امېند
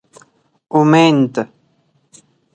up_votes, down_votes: 4, 0